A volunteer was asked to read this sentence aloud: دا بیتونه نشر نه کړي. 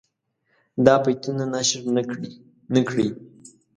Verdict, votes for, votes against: rejected, 0, 2